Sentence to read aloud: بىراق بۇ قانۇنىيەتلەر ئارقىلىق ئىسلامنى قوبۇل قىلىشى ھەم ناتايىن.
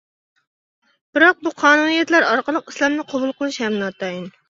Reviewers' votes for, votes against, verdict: 2, 0, accepted